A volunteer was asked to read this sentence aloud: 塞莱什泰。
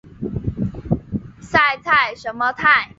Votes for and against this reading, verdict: 1, 3, rejected